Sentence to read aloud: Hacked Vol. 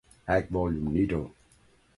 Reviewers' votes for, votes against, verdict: 1, 2, rejected